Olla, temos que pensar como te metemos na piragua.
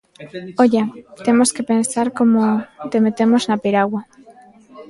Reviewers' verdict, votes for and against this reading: rejected, 0, 2